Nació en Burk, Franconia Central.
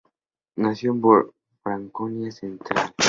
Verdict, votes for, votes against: accepted, 2, 0